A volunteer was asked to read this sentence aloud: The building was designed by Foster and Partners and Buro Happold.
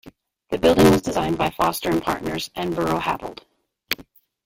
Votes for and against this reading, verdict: 2, 3, rejected